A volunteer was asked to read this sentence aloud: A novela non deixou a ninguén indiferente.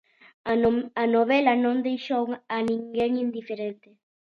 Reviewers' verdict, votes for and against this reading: rejected, 0, 2